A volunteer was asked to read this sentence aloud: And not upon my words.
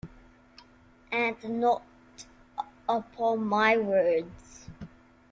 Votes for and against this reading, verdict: 2, 0, accepted